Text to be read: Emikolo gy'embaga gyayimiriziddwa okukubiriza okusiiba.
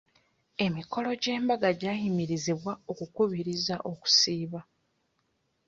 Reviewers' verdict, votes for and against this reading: rejected, 0, 2